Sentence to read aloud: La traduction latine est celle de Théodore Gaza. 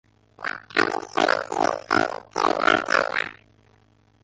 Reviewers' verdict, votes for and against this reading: rejected, 0, 2